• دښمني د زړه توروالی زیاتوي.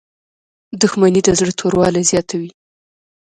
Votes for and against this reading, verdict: 2, 0, accepted